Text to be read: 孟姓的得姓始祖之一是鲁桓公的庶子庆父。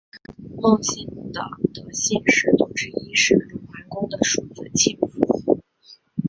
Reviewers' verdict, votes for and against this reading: accepted, 3, 1